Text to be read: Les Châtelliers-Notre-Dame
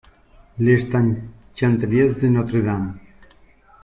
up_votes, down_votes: 0, 2